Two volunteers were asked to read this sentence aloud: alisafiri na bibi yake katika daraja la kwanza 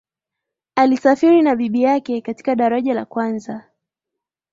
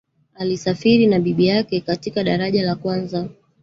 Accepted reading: first